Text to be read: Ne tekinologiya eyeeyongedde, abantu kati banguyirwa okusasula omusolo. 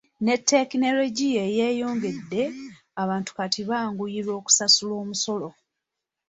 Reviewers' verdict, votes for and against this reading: rejected, 0, 2